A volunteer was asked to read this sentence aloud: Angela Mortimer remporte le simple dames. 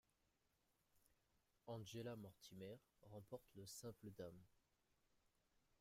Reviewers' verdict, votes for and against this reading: accepted, 2, 1